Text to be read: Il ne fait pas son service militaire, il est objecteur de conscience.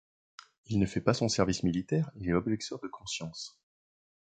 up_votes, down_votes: 1, 2